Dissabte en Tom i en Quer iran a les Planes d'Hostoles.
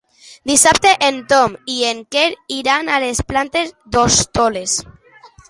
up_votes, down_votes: 2, 1